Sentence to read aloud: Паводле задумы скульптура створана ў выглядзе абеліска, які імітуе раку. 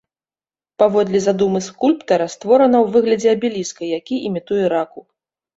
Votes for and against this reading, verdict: 1, 2, rejected